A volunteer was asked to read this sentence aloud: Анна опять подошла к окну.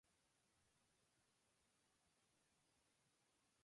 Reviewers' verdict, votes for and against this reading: rejected, 0, 2